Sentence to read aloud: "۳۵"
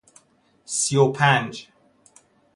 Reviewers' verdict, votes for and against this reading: rejected, 0, 2